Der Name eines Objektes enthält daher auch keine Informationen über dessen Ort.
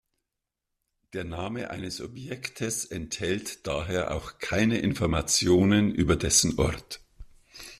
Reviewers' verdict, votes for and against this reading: rejected, 1, 2